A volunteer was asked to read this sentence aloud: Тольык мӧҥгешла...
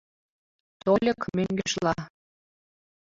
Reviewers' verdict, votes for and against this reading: rejected, 0, 2